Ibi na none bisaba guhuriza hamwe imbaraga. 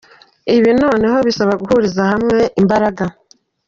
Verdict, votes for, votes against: rejected, 1, 2